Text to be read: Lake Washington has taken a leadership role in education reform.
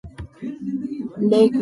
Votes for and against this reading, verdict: 0, 3, rejected